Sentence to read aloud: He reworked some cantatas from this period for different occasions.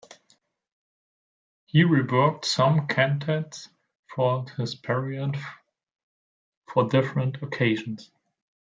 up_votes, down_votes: 0, 2